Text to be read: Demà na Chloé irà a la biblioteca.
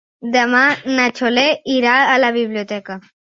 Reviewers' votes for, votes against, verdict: 0, 2, rejected